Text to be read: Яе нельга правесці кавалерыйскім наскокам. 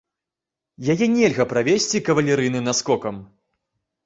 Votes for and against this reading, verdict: 0, 2, rejected